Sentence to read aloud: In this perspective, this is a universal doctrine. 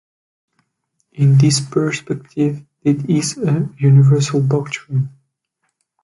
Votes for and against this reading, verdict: 2, 0, accepted